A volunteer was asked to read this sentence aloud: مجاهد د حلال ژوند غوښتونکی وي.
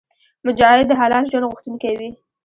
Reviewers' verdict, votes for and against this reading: rejected, 1, 2